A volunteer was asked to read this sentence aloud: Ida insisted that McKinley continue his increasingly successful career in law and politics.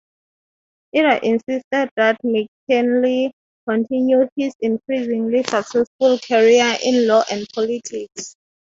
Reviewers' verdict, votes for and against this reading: accepted, 3, 0